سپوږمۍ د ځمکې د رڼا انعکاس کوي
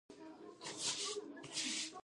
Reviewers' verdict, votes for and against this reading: rejected, 1, 2